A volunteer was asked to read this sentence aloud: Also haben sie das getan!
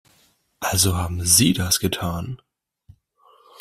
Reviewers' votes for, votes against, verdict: 2, 0, accepted